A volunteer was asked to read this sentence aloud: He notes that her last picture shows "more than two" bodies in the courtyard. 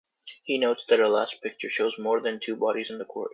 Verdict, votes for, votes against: rejected, 0, 3